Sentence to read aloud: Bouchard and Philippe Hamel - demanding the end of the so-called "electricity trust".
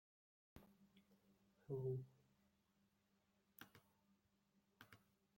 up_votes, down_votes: 0, 2